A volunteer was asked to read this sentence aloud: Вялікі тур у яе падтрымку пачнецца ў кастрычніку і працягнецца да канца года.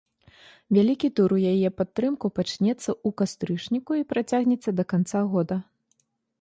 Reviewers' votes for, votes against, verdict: 1, 2, rejected